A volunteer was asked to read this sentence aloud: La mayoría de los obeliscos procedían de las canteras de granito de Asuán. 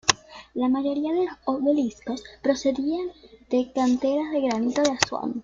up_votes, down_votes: 0, 2